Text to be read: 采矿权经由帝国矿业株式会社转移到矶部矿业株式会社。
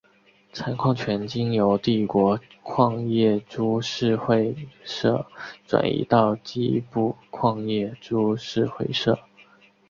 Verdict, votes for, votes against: accepted, 3, 0